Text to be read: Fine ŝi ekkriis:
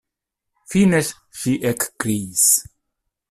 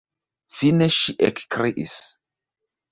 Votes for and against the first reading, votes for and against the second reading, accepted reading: 0, 2, 2, 1, second